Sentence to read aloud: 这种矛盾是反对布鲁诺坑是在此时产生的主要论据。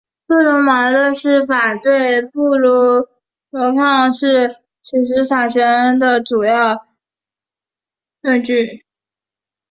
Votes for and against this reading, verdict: 0, 3, rejected